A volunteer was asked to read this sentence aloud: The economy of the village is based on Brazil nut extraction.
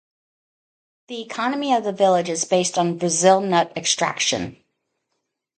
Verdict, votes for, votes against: rejected, 0, 2